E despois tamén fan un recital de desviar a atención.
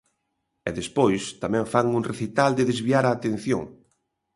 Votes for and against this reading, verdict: 2, 0, accepted